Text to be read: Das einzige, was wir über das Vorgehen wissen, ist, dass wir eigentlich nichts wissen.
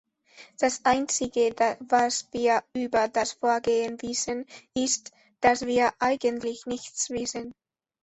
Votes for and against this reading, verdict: 0, 2, rejected